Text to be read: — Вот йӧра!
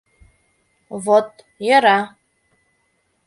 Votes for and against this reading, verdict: 2, 0, accepted